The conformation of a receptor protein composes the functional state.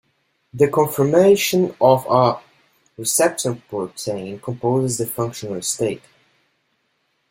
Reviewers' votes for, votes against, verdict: 2, 1, accepted